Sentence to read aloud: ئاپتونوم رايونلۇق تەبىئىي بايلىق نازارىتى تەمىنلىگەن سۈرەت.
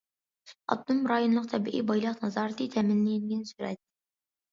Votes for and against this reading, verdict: 0, 2, rejected